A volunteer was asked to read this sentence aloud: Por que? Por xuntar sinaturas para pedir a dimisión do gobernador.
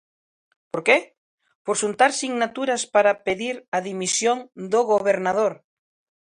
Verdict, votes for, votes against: accepted, 2, 0